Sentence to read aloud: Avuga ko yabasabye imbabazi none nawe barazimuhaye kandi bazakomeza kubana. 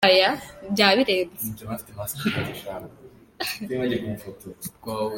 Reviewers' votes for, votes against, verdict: 0, 2, rejected